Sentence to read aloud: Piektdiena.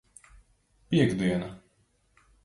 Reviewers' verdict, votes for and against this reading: accepted, 2, 0